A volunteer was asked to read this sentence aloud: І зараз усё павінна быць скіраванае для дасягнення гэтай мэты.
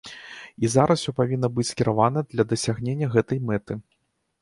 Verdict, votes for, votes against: rejected, 1, 2